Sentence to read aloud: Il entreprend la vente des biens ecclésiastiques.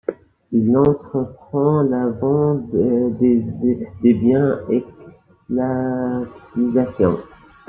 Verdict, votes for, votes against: rejected, 0, 2